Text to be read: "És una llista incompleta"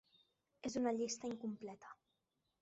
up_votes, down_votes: 3, 0